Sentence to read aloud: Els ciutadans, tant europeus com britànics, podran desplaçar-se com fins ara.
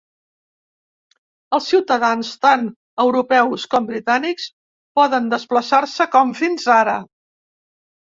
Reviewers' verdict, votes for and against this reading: rejected, 1, 2